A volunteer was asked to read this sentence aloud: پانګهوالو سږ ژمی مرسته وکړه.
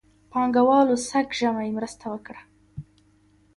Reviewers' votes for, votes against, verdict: 3, 0, accepted